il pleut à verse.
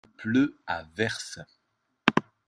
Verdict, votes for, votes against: rejected, 1, 2